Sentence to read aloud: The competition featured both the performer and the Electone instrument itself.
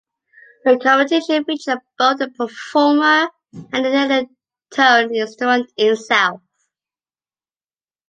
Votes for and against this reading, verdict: 0, 2, rejected